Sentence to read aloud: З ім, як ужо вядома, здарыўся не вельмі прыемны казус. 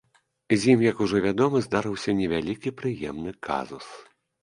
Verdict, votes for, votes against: rejected, 0, 2